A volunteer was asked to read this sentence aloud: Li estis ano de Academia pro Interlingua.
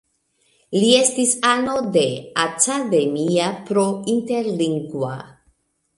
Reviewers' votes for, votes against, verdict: 2, 0, accepted